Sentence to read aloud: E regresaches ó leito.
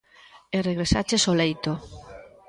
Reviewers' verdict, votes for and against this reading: accepted, 2, 0